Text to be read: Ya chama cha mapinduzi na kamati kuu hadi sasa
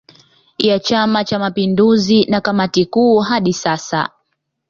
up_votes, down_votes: 2, 0